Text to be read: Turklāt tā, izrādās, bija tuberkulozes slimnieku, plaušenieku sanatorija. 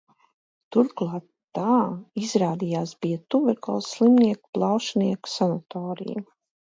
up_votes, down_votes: 0, 2